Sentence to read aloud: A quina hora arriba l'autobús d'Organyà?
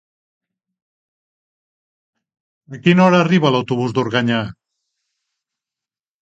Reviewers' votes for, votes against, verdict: 3, 0, accepted